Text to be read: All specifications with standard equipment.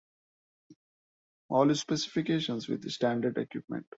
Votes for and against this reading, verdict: 2, 1, accepted